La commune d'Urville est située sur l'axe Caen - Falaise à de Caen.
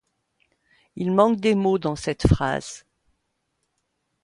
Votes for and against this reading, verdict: 0, 2, rejected